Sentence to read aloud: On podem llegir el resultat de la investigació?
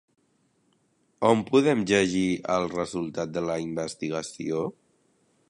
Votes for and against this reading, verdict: 0, 2, rejected